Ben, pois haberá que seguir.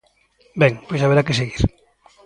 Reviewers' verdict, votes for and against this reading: accepted, 2, 0